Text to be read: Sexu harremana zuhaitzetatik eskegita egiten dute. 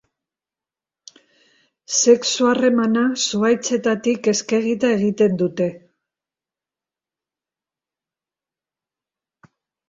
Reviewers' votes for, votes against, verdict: 3, 0, accepted